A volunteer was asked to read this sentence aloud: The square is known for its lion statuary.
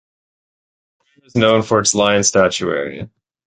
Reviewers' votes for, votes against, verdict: 0, 2, rejected